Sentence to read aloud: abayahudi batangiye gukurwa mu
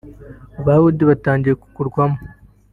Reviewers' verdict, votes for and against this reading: rejected, 0, 2